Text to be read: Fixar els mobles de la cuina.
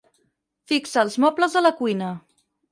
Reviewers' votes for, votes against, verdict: 2, 6, rejected